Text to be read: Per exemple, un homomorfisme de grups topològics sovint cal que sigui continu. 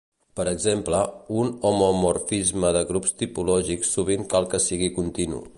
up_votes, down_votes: 0, 2